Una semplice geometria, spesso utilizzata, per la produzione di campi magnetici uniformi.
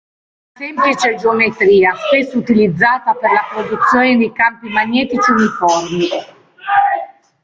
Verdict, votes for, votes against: rejected, 0, 3